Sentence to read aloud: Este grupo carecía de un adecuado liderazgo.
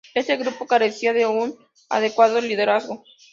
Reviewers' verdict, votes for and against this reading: accepted, 2, 0